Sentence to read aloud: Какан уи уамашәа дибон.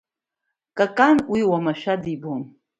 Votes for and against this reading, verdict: 2, 0, accepted